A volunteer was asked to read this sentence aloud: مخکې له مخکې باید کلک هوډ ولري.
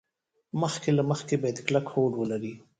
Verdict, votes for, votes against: rejected, 1, 2